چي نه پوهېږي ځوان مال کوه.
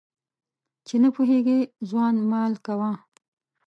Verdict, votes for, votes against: accepted, 2, 0